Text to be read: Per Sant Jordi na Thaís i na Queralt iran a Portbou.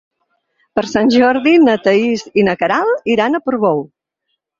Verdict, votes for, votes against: accepted, 6, 0